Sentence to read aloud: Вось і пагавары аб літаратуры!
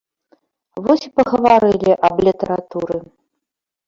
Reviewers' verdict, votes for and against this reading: rejected, 1, 2